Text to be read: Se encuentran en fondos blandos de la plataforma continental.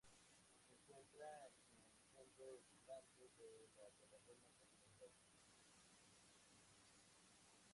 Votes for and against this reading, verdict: 2, 4, rejected